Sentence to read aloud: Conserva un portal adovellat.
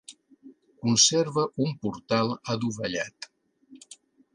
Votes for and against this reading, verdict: 2, 0, accepted